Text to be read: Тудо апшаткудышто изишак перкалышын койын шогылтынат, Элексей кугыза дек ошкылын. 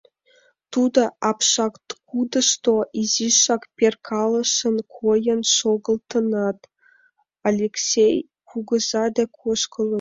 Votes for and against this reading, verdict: 2, 1, accepted